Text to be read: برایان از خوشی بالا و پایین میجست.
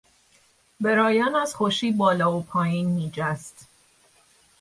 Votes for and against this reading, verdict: 3, 0, accepted